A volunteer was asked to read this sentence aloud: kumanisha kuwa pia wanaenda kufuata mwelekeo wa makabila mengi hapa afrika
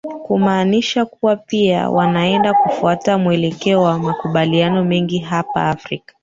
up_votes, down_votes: 0, 3